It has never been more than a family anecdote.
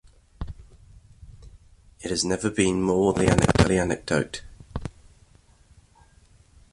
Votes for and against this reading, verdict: 2, 1, accepted